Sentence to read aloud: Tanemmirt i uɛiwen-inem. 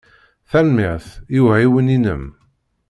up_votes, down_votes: 2, 0